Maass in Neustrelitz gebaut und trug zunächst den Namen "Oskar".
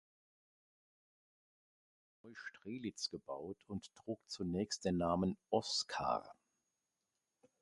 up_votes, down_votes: 0, 2